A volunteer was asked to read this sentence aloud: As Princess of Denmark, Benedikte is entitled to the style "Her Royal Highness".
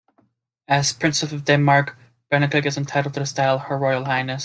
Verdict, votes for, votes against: accepted, 2, 0